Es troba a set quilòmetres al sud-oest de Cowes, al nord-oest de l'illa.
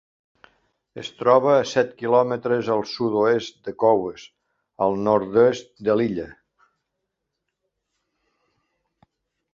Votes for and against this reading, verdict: 0, 2, rejected